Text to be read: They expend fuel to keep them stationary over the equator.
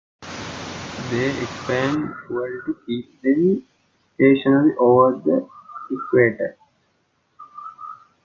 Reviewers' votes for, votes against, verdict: 1, 2, rejected